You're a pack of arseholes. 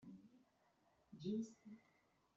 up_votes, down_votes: 0, 2